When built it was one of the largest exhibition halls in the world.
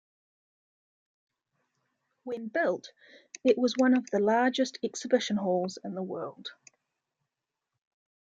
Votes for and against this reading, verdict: 2, 1, accepted